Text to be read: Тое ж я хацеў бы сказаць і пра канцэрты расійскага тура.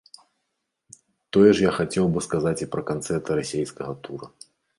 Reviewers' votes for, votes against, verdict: 1, 2, rejected